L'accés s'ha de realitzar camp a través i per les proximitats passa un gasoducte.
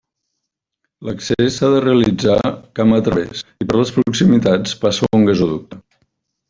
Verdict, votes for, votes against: rejected, 0, 2